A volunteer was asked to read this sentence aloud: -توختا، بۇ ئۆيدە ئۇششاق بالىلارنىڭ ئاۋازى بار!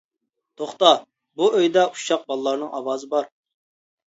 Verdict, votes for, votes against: accepted, 2, 0